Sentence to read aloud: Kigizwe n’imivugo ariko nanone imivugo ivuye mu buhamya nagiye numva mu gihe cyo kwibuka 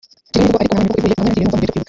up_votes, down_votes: 0, 3